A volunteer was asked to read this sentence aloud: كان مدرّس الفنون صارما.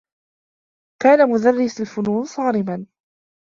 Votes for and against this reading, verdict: 0, 2, rejected